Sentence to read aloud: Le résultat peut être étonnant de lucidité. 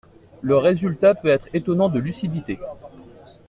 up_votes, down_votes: 2, 0